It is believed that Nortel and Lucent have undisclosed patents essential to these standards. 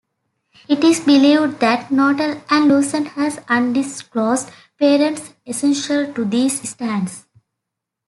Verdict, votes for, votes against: rejected, 1, 2